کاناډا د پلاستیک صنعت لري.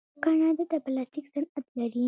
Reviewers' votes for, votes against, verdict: 1, 2, rejected